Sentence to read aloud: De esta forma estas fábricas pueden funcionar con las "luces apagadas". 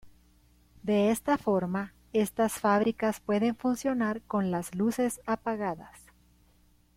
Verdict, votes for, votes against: accepted, 2, 0